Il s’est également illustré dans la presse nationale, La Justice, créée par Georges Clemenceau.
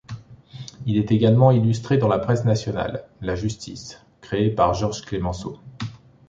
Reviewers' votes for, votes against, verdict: 0, 2, rejected